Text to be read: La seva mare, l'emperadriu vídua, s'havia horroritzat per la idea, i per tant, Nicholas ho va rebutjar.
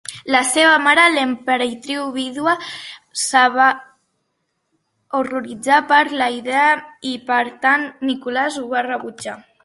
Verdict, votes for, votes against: rejected, 0, 2